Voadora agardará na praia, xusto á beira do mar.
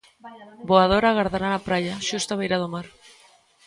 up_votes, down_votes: 0, 2